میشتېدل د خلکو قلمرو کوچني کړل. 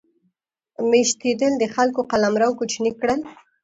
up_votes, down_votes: 2, 0